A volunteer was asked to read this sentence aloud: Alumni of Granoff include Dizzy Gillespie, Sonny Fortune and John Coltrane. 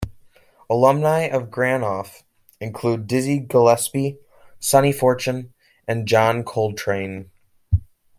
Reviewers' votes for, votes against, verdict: 2, 1, accepted